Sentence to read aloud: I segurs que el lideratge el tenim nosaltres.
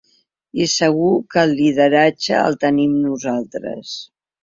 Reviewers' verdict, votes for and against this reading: rejected, 0, 2